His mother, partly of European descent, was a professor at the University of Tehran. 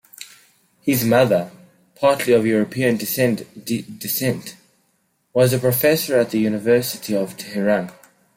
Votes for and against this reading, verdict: 0, 2, rejected